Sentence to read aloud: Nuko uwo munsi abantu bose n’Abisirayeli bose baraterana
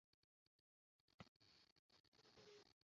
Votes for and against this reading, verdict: 0, 2, rejected